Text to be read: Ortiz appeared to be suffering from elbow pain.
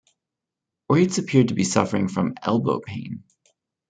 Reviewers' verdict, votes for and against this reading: rejected, 0, 2